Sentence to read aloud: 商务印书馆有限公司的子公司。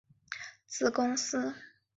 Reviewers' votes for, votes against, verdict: 0, 2, rejected